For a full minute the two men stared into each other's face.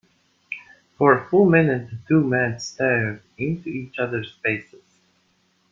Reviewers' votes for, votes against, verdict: 1, 2, rejected